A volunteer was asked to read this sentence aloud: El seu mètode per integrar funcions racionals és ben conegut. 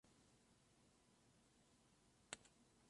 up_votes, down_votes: 0, 2